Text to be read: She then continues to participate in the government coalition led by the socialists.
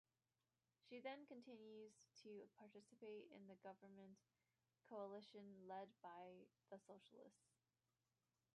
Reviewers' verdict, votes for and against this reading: rejected, 0, 2